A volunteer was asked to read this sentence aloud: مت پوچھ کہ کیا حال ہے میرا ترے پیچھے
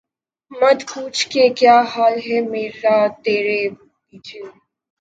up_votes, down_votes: 2, 0